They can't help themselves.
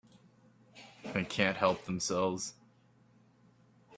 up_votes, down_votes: 2, 0